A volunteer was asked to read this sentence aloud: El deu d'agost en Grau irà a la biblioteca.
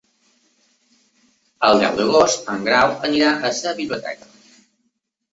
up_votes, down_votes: 0, 2